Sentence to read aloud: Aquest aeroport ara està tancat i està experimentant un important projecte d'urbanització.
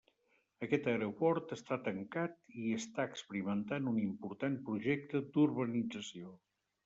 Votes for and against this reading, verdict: 1, 2, rejected